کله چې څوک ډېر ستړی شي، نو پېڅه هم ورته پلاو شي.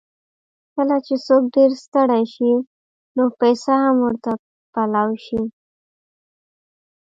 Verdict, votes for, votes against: rejected, 0, 2